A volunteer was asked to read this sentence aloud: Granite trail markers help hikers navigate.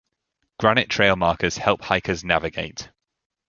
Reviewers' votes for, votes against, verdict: 2, 0, accepted